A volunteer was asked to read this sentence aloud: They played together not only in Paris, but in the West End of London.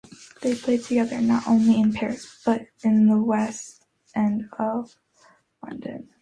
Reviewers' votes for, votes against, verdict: 2, 0, accepted